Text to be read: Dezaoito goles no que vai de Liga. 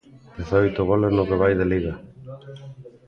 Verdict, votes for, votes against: rejected, 0, 2